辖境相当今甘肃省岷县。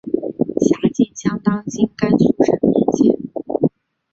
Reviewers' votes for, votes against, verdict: 3, 0, accepted